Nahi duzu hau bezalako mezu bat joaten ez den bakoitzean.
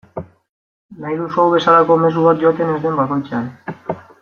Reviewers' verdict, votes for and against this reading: accepted, 2, 0